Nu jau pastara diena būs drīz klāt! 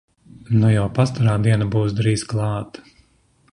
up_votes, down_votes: 2, 0